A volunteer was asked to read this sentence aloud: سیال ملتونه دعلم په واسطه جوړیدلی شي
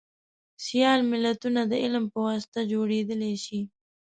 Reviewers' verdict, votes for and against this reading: accepted, 2, 0